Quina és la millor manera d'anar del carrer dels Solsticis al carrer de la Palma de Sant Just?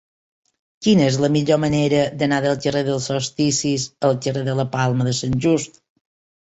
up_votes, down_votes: 2, 0